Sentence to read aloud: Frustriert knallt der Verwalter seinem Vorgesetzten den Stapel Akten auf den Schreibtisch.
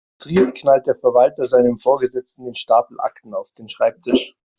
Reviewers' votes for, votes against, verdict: 1, 2, rejected